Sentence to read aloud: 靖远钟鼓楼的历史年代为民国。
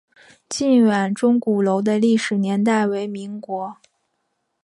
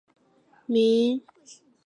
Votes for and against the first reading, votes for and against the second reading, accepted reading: 9, 0, 0, 4, first